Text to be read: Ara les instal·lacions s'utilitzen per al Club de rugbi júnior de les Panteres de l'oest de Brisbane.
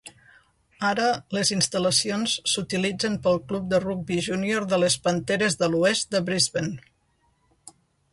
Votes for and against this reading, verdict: 0, 2, rejected